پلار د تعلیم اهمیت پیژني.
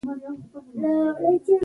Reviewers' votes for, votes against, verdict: 0, 2, rejected